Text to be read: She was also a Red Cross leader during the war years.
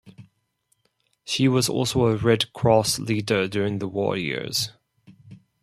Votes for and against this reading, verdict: 4, 2, accepted